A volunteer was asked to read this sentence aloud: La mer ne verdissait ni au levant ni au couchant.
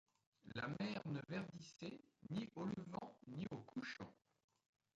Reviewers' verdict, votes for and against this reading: accepted, 2, 1